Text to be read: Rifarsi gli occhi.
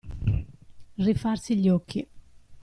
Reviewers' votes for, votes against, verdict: 2, 0, accepted